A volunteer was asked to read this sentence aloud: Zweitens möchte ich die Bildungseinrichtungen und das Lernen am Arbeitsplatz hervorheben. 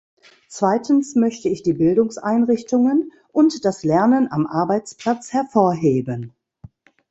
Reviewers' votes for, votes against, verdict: 1, 2, rejected